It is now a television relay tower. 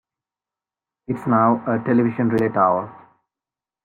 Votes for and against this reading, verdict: 1, 2, rejected